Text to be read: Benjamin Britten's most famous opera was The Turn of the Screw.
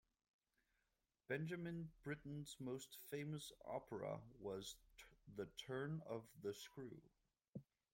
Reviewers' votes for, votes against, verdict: 1, 2, rejected